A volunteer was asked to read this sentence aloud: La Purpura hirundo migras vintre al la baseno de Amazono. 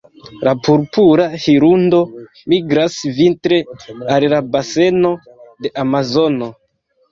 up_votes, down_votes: 2, 0